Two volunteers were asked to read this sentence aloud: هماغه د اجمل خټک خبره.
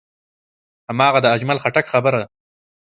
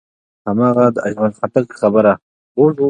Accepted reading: first